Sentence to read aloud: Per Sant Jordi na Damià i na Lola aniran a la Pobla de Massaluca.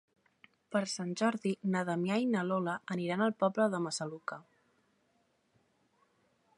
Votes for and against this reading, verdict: 1, 2, rejected